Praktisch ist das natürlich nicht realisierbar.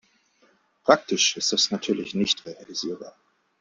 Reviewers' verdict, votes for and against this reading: accepted, 2, 0